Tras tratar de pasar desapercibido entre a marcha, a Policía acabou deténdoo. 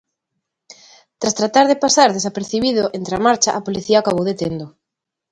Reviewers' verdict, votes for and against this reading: accepted, 2, 0